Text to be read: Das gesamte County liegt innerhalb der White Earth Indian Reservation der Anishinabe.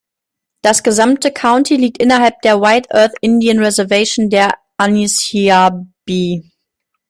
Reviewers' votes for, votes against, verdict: 0, 2, rejected